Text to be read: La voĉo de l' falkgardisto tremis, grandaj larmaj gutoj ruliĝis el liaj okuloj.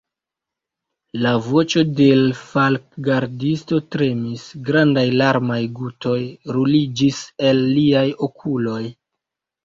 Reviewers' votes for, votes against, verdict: 1, 2, rejected